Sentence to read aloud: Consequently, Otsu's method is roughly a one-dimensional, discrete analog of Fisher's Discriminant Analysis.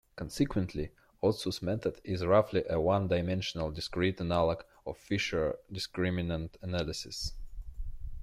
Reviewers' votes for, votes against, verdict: 3, 1, accepted